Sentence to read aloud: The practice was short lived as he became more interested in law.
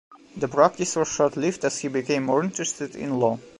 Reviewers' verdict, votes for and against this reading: accepted, 2, 1